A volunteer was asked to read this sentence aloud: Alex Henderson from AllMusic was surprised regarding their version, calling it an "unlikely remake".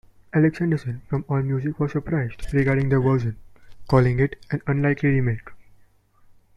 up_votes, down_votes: 2, 0